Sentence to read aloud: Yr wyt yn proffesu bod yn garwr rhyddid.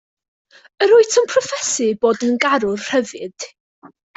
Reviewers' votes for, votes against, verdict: 2, 0, accepted